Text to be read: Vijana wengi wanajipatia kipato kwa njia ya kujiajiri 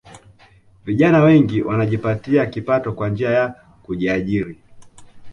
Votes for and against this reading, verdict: 2, 0, accepted